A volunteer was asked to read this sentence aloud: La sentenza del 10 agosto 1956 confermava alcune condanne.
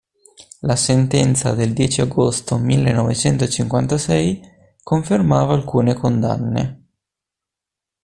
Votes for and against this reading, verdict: 0, 2, rejected